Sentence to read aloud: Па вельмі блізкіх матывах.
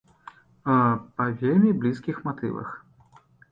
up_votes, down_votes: 0, 2